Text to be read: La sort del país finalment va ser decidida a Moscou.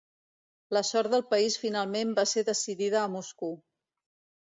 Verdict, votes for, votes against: rejected, 1, 2